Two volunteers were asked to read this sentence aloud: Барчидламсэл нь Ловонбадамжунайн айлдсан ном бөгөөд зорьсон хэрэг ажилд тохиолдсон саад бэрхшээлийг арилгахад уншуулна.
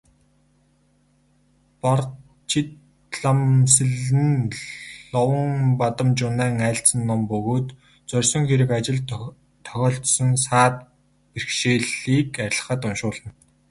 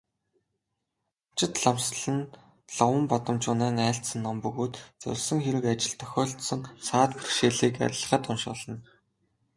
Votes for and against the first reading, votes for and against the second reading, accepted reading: 4, 0, 0, 2, first